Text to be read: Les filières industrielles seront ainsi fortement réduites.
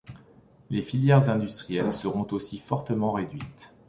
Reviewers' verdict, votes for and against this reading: rejected, 1, 2